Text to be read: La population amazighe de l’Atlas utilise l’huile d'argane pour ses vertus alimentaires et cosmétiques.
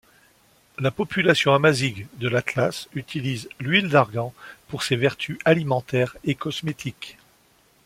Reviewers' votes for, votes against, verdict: 0, 2, rejected